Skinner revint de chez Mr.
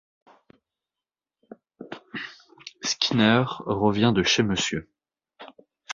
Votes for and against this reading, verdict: 1, 2, rejected